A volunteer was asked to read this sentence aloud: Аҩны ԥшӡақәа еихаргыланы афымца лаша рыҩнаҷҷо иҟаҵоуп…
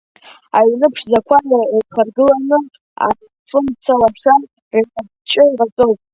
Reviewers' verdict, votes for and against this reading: rejected, 0, 2